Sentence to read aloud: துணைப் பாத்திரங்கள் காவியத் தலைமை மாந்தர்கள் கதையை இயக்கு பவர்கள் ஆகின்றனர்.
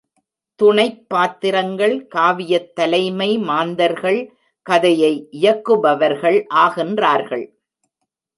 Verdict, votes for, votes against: rejected, 0, 2